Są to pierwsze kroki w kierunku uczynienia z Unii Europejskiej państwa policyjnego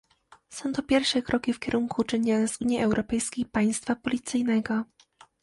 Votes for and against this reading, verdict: 2, 0, accepted